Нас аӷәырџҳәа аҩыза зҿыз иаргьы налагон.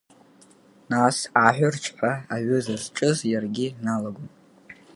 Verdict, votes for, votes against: rejected, 2, 3